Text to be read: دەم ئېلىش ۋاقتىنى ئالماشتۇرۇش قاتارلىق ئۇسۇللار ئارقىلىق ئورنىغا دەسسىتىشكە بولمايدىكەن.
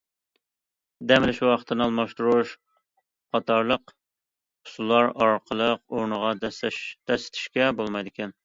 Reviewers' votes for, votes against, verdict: 0, 2, rejected